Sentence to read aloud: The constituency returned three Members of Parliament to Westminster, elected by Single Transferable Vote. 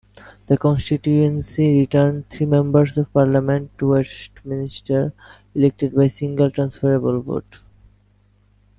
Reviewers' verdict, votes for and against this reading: accepted, 2, 0